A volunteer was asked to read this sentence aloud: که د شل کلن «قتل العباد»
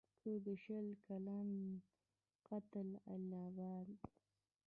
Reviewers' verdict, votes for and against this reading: accepted, 2, 1